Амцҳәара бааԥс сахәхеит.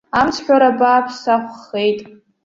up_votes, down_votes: 2, 1